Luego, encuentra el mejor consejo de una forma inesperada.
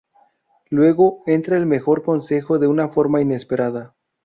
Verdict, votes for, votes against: rejected, 0, 2